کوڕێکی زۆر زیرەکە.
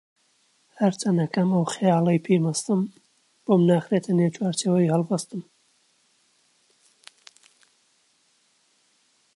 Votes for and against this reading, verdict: 0, 2, rejected